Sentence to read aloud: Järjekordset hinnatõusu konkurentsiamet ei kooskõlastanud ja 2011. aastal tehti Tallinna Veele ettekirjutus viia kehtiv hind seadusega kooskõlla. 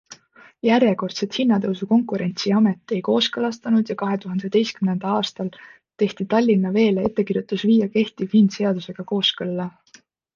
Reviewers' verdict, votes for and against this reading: rejected, 0, 2